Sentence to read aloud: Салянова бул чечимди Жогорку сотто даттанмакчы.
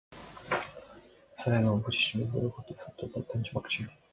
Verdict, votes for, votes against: rejected, 1, 2